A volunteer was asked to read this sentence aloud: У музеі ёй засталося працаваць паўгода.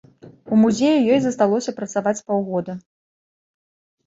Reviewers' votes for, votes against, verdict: 2, 1, accepted